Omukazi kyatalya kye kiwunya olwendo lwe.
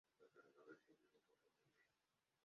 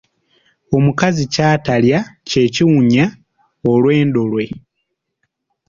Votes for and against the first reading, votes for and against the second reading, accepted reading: 0, 2, 3, 0, second